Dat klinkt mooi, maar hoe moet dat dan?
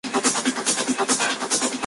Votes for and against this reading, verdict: 0, 2, rejected